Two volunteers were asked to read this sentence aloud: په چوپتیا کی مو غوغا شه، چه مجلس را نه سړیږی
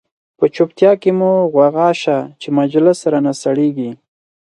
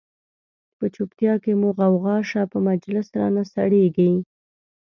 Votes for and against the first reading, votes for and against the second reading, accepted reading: 4, 0, 1, 2, first